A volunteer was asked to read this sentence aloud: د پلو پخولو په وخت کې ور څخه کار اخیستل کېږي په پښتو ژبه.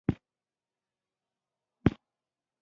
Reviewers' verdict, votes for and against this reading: rejected, 1, 2